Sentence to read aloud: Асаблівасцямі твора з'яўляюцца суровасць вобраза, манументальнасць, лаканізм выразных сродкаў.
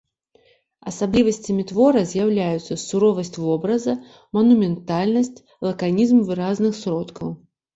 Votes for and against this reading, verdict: 2, 0, accepted